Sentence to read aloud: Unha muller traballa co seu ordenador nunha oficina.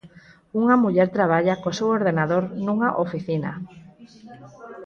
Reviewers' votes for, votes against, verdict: 4, 0, accepted